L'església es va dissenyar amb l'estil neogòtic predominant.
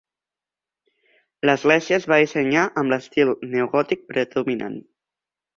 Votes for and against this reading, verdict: 3, 0, accepted